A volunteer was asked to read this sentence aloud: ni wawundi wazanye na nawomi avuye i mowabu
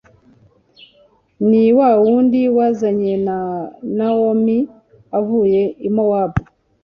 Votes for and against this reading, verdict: 3, 0, accepted